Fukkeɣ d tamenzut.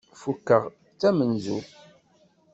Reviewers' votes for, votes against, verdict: 2, 0, accepted